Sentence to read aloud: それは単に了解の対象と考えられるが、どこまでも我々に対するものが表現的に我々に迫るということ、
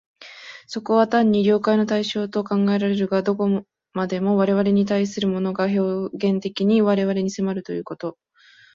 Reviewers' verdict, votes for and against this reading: rejected, 1, 2